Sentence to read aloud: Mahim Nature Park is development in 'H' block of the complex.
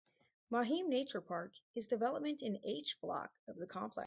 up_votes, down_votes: 2, 2